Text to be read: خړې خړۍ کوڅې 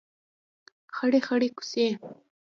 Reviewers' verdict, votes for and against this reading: rejected, 1, 2